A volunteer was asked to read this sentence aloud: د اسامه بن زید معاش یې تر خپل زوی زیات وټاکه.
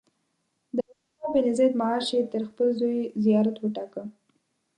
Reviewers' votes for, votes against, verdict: 5, 8, rejected